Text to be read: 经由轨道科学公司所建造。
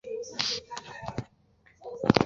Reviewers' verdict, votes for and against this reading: rejected, 0, 2